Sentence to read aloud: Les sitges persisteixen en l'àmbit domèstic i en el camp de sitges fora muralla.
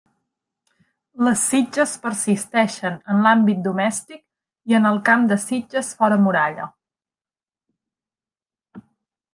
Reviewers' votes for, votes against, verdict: 3, 0, accepted